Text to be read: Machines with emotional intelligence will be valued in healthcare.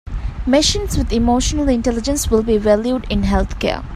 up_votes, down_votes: 0, 2